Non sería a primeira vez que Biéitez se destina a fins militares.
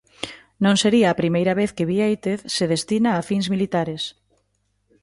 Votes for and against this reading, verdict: 2, 0, accepted